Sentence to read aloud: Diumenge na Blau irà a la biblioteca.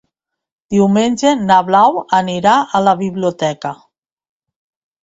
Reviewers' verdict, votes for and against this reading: rejected, 0, 2